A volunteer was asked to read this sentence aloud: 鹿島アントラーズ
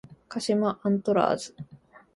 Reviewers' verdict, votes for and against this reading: accepted, 2, 0